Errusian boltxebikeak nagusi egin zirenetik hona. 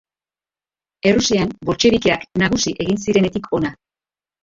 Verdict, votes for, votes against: rejected, 2, 3